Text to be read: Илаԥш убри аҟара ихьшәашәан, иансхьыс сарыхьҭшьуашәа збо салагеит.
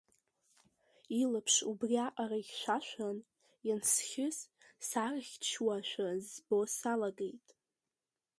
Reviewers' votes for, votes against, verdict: 2, 1, accepted